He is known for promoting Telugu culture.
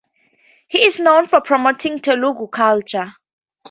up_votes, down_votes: 4, 0